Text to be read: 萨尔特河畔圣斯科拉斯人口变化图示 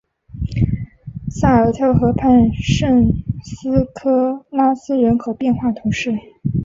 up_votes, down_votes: 5, 0